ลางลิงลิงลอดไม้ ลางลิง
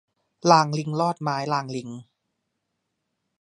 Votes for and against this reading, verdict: 0, 2, rejected